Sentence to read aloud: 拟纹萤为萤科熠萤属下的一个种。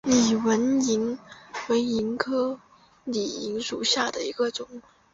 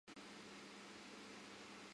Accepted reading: first